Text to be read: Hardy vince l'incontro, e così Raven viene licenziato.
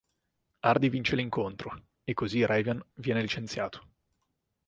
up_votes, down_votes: 4, 0